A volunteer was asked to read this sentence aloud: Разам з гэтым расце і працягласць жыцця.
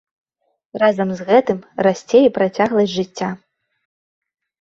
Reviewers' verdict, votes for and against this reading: accepted, 2, 0